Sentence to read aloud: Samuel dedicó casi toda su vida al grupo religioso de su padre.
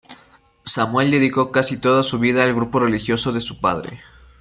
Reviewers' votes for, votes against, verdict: 2, 0, accepted